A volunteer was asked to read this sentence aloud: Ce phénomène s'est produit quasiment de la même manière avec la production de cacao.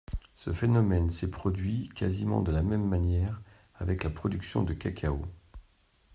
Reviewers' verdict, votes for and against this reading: accepted, 2, 0